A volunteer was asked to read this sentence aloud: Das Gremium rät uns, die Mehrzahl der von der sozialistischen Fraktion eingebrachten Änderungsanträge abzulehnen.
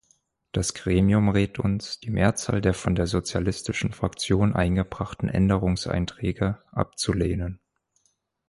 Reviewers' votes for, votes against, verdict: 2, 4, rejected